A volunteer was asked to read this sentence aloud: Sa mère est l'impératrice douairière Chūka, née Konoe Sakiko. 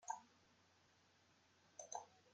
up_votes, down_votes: 0, 2